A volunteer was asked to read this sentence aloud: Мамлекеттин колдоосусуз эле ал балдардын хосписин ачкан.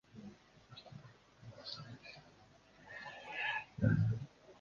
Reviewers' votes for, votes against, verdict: 0, 2, rejected